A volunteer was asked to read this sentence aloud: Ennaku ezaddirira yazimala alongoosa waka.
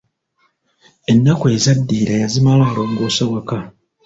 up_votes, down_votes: 2, 0